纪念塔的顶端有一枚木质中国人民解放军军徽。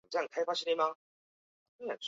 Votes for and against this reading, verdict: 0, 2, rejected